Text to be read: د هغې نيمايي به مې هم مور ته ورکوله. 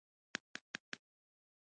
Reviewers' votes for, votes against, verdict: 1, 2, rejected